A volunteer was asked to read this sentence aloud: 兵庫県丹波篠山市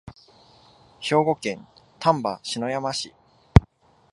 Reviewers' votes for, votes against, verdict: 2, 0, accepted